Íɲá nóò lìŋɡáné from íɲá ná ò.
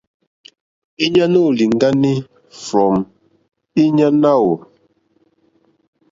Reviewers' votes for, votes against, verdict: 1, 2, rejected